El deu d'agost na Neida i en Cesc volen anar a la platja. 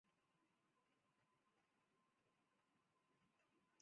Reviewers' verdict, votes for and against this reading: rejected, 0, 2